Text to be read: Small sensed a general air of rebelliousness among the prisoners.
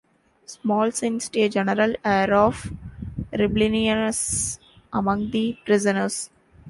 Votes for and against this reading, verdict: 0, 2, rejected